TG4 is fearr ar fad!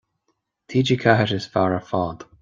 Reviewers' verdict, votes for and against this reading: rejected, 0, 2